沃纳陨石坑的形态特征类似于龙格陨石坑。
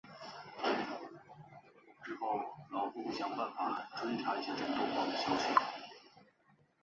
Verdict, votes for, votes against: rejected, 0, 3